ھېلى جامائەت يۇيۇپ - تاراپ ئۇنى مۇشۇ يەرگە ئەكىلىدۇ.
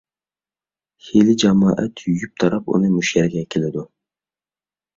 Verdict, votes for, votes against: rejected, 1, 2